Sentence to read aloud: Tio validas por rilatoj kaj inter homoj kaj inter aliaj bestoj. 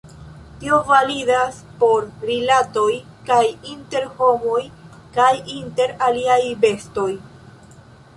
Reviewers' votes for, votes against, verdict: 2, 0, accepted